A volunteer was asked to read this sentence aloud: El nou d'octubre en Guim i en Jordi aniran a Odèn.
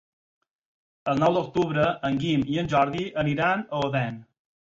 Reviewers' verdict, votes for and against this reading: accepted, 6, 0